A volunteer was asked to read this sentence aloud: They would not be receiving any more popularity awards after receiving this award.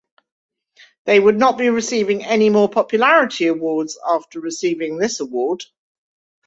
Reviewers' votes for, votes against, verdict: 2, 0, accepted